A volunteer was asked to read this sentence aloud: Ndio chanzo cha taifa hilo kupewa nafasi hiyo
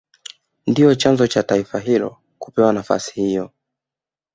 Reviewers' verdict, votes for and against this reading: rejected, 1, 2